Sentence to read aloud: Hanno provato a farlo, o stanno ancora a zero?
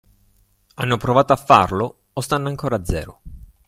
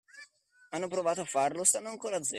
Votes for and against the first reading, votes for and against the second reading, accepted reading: 2, 0, 1, 2, first